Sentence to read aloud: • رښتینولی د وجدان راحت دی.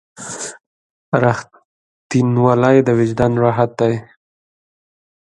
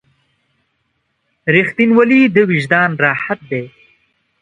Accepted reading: first